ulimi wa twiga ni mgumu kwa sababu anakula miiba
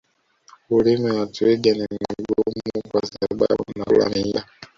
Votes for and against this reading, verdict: 1, 2, rejected